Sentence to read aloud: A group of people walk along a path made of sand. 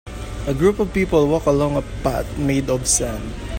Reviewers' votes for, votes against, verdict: 1, 2, rejected